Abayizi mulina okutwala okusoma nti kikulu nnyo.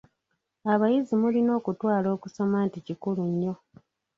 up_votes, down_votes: 1, 2